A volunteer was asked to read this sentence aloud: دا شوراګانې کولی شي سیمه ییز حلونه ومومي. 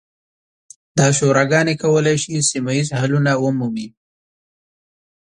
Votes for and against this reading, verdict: 2, 0, accepted